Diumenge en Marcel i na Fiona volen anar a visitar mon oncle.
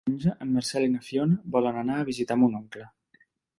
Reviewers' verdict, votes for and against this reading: rejected, 0, 2